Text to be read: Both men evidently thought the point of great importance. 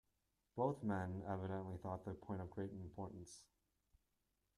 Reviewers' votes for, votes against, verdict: 2, 0, accepted